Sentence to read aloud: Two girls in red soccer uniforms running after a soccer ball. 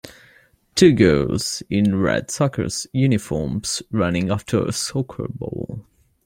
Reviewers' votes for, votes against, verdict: 2, 0, accepted